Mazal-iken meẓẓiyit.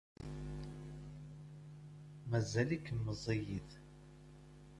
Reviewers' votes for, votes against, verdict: 2, 0, accepted